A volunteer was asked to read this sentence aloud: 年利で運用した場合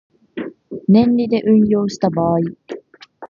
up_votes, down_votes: 2, 0